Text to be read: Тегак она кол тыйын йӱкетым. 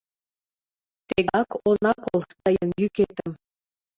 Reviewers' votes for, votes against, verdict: 0, 2, rejected